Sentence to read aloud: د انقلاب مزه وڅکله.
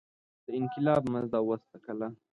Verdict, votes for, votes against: rejected, 1, 2